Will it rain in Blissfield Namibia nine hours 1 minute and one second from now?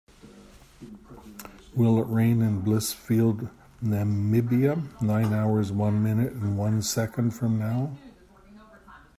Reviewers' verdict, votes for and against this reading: rejected, 0, 2